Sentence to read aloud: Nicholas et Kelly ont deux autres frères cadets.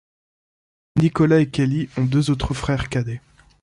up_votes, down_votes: 1, 2